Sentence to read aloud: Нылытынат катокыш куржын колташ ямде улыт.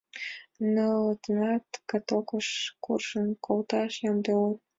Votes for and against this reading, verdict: 1, 2, rejected